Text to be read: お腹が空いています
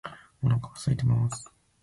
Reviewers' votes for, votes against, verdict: 0, 2, rejected